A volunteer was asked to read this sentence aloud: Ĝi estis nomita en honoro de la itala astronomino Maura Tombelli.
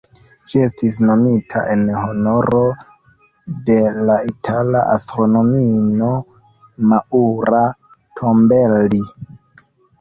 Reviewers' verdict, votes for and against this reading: rejected, 0, 2